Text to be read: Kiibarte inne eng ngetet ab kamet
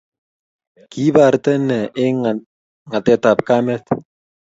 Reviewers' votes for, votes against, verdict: 2, 0, accepted